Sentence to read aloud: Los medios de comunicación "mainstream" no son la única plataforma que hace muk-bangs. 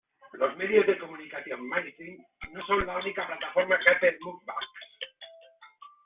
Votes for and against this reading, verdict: 1, 2, rejected